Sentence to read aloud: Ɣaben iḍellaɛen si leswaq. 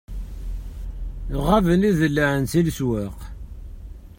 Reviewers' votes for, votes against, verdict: 0, 2, rejected